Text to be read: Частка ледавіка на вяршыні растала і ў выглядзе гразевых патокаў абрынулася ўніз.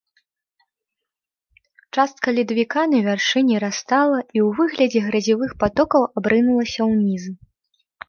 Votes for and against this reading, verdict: 2, 0, accepted